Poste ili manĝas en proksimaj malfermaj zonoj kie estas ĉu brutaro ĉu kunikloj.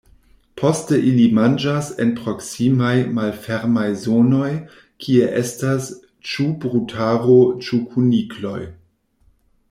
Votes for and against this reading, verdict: 2, 0, accepted